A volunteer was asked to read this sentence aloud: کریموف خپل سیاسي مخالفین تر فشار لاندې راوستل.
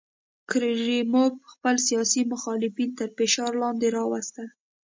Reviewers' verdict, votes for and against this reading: accepted, 2, 0